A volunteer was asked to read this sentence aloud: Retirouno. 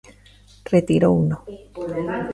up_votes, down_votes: 1, 2